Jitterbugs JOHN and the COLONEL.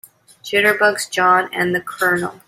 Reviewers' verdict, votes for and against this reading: rejected, 1, 2